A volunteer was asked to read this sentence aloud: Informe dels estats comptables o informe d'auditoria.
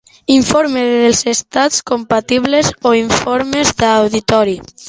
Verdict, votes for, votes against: rejected, 0, 2